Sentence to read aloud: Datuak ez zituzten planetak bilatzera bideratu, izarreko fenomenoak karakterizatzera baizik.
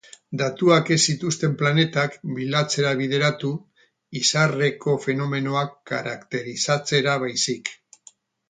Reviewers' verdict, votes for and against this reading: accepted, 2, 0